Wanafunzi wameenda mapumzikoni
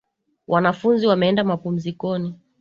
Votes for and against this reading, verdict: 2, 0, accepted